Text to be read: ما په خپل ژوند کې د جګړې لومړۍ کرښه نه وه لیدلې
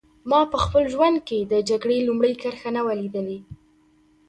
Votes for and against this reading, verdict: 1, 2, rejected